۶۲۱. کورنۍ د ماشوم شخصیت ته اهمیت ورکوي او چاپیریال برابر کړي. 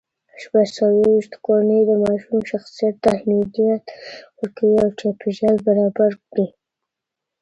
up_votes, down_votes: 0, 2